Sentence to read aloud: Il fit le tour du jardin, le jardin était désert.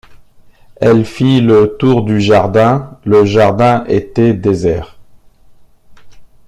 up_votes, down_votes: 1, 2